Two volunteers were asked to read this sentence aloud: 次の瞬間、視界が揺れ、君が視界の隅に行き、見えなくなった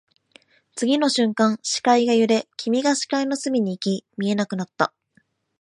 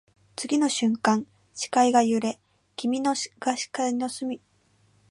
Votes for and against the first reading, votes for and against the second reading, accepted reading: 6, 0, 1, 2, first